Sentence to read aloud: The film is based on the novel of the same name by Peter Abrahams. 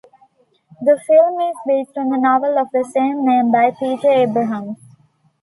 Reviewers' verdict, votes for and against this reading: accepted, 2, 1